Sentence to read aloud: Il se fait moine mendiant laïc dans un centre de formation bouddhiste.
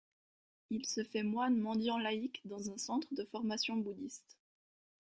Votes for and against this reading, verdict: 1, 2, rejected